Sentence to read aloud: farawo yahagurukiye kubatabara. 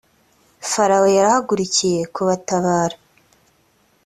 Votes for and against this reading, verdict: 2, 1, accepted